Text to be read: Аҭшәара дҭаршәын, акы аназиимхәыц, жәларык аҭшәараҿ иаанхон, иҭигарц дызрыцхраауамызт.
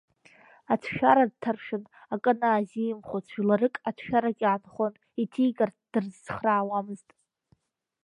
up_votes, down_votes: 0, 2